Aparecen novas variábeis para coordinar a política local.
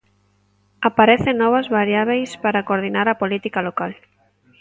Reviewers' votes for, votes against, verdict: 2, 0, accepted